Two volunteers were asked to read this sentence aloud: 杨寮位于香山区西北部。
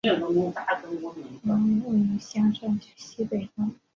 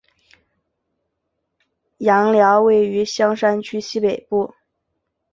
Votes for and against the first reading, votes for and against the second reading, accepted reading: 1, 3, 4, 0, second